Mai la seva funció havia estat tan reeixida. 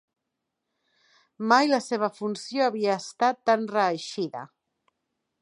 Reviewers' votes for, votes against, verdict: 2, 0, accepted